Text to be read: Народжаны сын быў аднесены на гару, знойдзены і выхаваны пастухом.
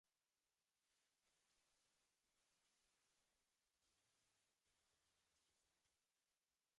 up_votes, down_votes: 0, 2